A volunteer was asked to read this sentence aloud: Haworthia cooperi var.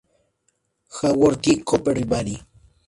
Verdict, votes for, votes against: rejected, 0, 2